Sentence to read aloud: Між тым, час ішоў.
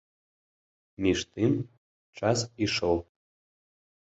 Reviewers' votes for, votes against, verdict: 2, 0, accepted